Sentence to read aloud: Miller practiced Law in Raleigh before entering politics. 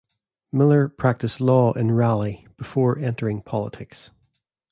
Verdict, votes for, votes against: accepted, 2, 0